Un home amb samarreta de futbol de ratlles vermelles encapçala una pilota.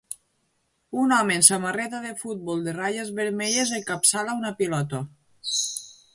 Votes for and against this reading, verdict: 2, 0, accepted